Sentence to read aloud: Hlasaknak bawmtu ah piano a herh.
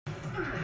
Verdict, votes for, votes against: rejected, 0, 2